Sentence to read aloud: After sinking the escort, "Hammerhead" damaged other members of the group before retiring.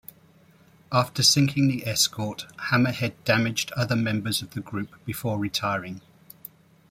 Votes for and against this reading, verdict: 1, 2, rejected